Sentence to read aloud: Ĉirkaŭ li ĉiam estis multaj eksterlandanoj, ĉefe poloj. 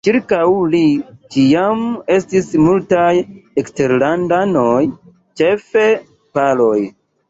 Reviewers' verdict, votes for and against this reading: rejected, 1, 2